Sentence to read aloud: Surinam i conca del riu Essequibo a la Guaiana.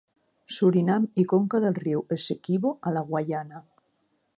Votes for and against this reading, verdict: 3, 0, accepted